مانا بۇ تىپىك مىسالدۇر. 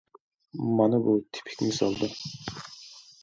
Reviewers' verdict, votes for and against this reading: rejected, 1, 2